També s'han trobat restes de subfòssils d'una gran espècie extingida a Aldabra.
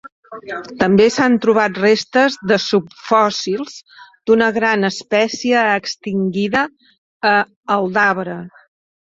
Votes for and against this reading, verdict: 2, 1, accepted